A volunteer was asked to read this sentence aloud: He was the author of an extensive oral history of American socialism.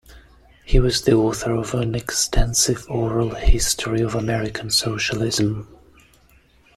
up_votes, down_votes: 2, 0